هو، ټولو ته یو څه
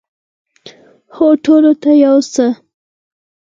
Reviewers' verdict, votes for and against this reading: rejected, 0, 4